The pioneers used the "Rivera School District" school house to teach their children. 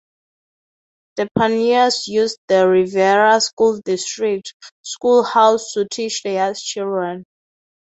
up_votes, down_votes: 0, 2